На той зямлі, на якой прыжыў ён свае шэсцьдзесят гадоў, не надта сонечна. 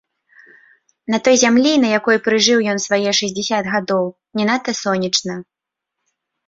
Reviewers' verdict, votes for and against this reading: accepted, 2, 0